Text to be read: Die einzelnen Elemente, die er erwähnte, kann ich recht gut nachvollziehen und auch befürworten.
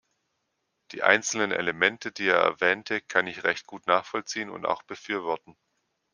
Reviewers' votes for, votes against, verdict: 2, 0, accepted